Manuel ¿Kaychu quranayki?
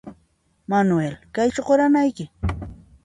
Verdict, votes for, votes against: accepted, 2, 0